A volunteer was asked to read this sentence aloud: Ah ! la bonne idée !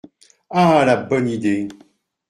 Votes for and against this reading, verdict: 2, 0, accepted